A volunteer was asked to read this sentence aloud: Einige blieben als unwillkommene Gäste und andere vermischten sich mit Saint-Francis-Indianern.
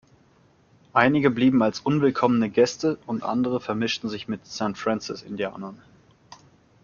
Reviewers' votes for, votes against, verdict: 2, 0, accepted